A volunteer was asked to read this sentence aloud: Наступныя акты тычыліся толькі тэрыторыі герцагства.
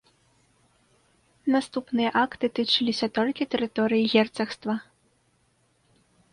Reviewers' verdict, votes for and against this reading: accepted, 2, 0